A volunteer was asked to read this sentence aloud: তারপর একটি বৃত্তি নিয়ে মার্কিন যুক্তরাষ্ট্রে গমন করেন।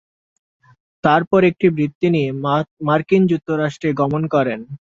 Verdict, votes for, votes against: rejected, 0, 2